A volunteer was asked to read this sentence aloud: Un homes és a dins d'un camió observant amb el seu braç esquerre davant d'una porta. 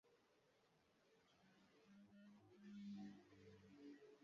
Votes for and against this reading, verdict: 0, 2, rejected